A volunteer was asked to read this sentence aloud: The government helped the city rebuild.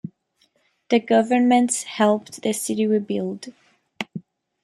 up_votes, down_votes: 1, 2